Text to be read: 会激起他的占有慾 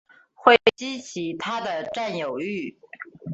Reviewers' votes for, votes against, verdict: 2, 0, accepted